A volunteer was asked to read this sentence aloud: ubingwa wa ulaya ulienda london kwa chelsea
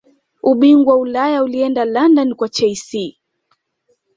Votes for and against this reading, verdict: 2, 0, accepted